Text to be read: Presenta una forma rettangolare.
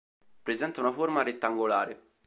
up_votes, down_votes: 2, 0